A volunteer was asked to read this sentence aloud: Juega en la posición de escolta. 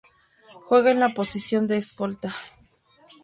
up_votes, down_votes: 2, 0